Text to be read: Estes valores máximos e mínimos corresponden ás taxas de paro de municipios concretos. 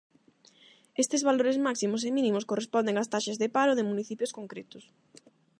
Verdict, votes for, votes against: accepted, 8, 0